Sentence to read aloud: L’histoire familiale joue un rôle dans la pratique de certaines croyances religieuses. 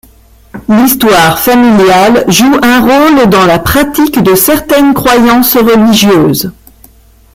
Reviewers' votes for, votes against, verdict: 0, 2, rejected